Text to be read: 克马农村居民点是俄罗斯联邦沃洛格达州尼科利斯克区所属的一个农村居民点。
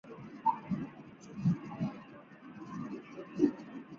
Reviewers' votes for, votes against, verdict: 1, 4, rejected